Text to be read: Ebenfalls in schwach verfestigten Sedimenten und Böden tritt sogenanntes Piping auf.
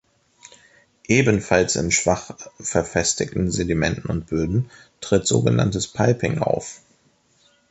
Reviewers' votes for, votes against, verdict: 2, 0, accepted